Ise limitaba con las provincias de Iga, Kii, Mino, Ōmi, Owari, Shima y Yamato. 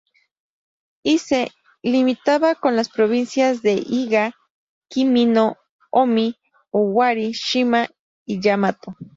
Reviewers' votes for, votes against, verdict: 2, 0, accepted